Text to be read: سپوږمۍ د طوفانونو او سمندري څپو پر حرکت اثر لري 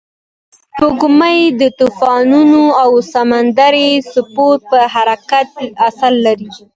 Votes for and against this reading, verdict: 2, 0, accepted